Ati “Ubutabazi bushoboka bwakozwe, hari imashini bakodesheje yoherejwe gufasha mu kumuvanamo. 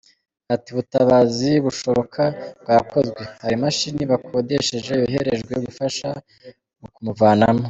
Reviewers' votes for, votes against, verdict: 2, 3, rejected